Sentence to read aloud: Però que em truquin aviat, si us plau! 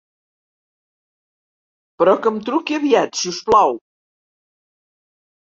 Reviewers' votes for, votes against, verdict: 1, 2, rejected